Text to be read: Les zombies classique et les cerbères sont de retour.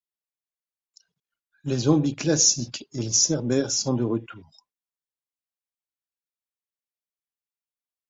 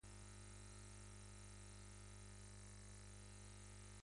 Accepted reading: first